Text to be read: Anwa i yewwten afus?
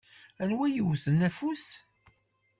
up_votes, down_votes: 2, 0